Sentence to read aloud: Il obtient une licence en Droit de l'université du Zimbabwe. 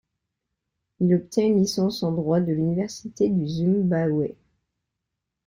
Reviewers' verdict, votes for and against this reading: rejected, 1, 2